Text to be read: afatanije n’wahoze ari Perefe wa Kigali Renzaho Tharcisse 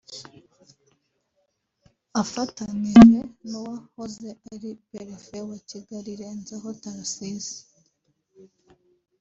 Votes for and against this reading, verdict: 0, 2, rejected